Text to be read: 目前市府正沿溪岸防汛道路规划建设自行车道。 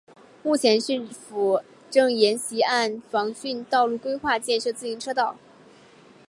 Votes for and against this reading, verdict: 2, 2, rejected